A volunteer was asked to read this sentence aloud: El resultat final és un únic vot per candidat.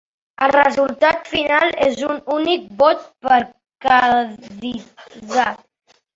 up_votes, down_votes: 1, 2